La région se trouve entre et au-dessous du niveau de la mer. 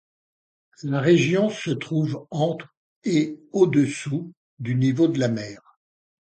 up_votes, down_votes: 2, 0